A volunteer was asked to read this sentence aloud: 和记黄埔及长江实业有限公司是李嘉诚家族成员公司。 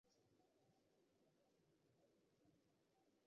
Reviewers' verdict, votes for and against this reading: rejected, 0, 2